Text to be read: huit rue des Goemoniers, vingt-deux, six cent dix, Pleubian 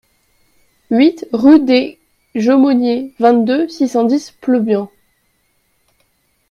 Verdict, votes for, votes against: rejected, 1, 2